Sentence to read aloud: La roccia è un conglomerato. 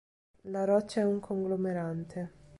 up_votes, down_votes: 0, 2